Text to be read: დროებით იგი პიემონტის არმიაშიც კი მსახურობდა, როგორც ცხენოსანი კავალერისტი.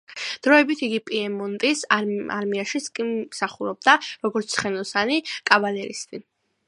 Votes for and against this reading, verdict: 2, 0, accepted